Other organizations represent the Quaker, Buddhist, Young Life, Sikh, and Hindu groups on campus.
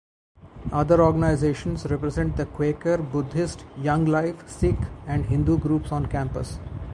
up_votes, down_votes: 2, 0